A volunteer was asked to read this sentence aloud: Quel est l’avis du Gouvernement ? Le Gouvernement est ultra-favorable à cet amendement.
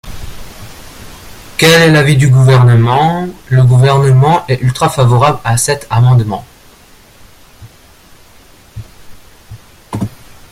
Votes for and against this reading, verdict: 2, 1, accepted